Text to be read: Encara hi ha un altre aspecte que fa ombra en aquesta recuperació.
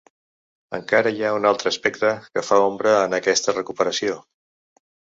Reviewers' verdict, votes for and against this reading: accepted, 3, 0